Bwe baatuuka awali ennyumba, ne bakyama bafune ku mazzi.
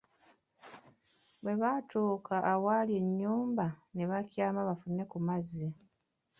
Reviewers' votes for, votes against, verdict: 2, 0, accepted